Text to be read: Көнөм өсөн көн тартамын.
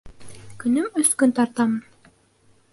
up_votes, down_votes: 0, 2